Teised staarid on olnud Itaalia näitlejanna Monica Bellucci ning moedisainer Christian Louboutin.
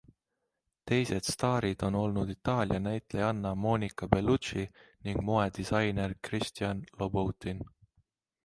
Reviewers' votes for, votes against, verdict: 2, 0, accepted